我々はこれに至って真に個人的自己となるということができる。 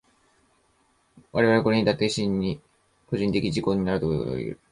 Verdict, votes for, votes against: rejected, 2, 3